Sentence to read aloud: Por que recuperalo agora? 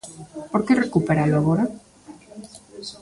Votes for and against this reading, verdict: 2, 0, accepted